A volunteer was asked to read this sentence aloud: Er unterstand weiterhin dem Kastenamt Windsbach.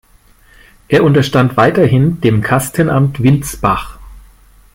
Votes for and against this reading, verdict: 5, 1, accepted